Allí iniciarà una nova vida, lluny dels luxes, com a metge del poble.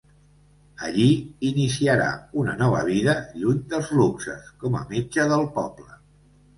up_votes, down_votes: 2, 0